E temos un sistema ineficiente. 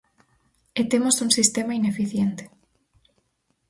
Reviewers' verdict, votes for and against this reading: accepted, 4, 0